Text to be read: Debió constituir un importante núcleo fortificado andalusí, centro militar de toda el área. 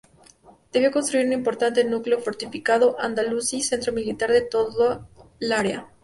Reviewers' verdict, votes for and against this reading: rejected, 0, 2